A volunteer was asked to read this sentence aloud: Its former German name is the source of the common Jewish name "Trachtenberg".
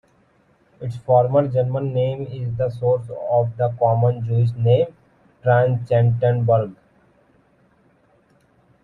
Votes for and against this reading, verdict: 1, 2, rejected